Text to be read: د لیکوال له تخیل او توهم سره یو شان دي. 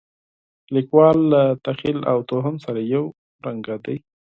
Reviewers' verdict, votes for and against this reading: accepted, 4, 0